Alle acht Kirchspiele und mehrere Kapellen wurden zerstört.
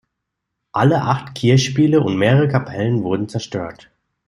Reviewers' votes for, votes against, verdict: 2, 0, accepted